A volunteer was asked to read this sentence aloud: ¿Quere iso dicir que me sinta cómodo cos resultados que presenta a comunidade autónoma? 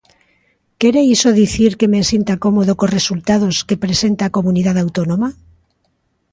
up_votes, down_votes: 2, 0